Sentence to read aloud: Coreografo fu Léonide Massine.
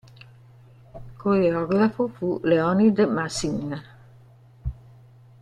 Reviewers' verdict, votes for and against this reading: accepted, 2, 1